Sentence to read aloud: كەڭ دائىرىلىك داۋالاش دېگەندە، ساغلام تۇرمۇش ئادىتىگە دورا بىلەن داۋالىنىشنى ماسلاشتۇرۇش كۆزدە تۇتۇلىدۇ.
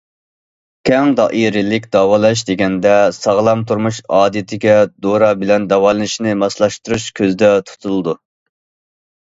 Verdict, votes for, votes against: accepted, 2, 0